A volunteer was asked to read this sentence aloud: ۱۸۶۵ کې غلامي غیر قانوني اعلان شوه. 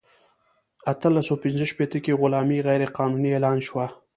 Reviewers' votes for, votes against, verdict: 0, 2, rejected